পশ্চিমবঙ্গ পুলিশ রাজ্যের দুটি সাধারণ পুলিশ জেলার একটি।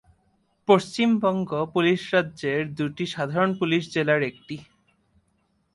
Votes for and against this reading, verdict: 2, 0, accepted